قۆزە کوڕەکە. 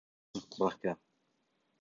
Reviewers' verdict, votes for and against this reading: rejected, 0, 2